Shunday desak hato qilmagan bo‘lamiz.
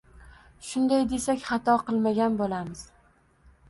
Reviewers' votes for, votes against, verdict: 2, 0, accepted